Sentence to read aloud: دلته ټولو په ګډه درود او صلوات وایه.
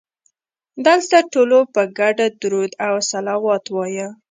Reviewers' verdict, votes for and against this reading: accepted, 2, 0